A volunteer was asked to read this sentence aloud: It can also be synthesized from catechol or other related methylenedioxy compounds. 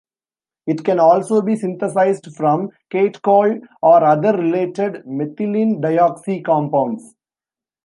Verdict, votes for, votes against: rejected, 0, 2